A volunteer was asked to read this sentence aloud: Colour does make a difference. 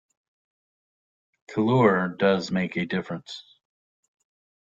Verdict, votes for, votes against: rejected, 1, 2